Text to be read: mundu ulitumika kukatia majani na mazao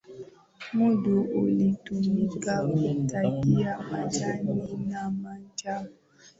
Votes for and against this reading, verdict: 0, 2, rejected